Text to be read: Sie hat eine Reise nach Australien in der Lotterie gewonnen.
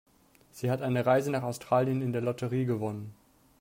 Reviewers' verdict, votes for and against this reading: accepted, 4, 0